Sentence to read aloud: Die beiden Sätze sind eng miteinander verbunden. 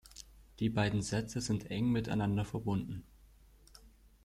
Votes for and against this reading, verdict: 2, 0, accepted